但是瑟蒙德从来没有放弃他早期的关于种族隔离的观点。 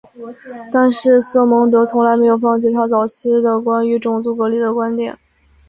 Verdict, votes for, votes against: accepted, 3, 1